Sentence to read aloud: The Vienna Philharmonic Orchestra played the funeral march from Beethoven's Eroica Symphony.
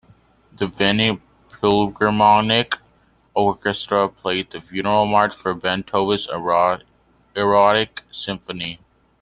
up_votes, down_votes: 0, 2